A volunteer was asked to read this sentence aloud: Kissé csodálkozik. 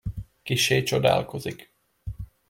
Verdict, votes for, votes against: accepted, 2, 0